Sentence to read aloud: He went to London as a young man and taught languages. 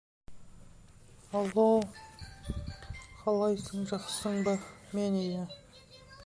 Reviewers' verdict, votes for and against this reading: rejected, 0, 2